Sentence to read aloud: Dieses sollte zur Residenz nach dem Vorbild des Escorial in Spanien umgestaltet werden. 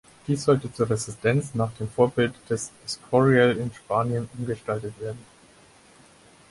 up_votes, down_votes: 2, 4